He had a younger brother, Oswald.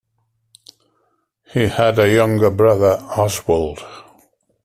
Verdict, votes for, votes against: accepted, 3, 1